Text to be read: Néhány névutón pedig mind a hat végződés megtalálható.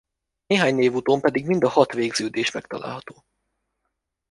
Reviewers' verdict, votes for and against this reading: accepted, 2, 0